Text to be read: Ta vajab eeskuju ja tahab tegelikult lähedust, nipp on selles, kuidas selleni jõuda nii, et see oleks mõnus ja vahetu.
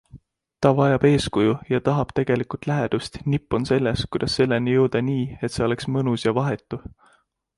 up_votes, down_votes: 2, 0